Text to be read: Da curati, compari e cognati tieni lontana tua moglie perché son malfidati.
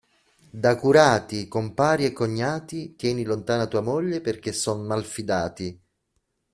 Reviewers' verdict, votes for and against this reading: accepted, 2, 0